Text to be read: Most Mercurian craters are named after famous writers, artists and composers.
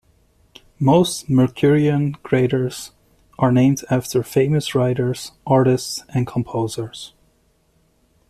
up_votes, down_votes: 2, 0